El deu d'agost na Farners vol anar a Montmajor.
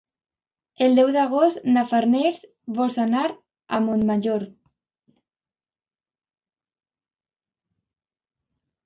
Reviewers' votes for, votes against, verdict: 0, 2, rejected